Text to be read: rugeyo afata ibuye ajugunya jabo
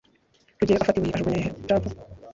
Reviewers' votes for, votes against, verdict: 1, 2, rejected